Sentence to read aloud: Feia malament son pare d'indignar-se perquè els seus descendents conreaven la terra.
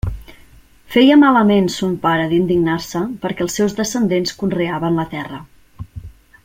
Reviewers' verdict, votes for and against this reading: accepted, 3, 0